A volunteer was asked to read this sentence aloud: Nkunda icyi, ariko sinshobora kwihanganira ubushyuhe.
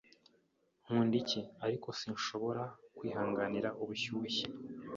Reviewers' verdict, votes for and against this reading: accepted, 2, 0